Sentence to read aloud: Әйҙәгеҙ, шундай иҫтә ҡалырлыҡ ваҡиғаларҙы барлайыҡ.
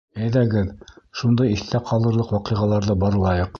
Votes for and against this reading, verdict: 2, 0, accepted